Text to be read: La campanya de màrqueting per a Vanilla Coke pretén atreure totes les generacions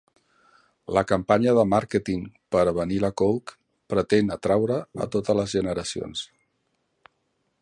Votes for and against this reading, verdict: 0, 3, rejected